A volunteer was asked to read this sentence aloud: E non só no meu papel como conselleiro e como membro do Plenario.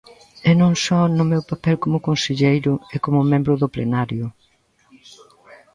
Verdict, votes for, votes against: accepted, 2, 0